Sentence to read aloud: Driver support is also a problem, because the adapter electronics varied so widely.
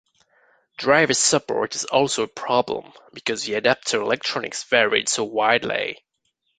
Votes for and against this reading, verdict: 2, 1, accepted